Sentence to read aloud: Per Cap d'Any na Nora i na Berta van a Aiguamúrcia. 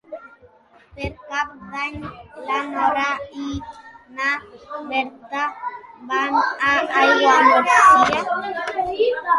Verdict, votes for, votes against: accepted, 2, 0